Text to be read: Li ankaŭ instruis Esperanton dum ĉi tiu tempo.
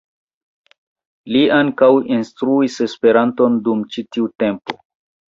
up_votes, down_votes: 2, 0